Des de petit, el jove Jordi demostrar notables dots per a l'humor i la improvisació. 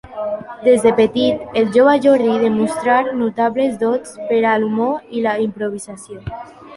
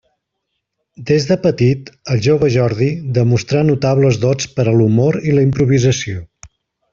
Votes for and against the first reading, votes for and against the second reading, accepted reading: 0, 2, 2, 0, second